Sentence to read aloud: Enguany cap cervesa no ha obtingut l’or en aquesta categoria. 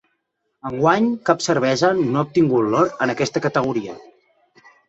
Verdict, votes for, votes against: accepted, 4, 0